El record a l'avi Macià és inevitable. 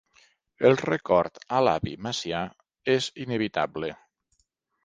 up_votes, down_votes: 4, 0